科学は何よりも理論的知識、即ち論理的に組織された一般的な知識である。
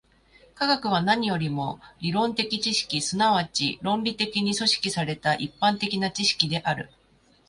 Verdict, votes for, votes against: accepted, 6, 0